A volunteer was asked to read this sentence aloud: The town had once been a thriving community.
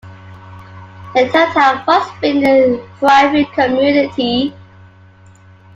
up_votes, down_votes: 1, 2